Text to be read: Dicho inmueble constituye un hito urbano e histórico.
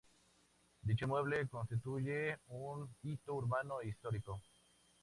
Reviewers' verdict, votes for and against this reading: rejected, 0, 2